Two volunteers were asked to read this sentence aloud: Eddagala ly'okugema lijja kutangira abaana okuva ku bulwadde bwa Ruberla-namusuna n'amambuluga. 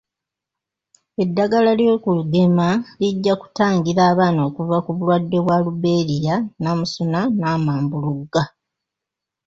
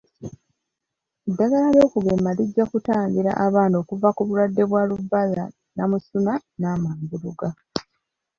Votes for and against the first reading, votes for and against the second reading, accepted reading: 0, 2, 3, 1, second